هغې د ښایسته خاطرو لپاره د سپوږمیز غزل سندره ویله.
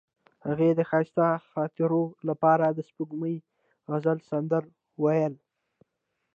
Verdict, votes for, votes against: rejected, 1, 2